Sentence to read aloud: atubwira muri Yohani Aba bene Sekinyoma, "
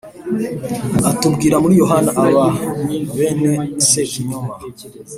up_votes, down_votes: 2, 0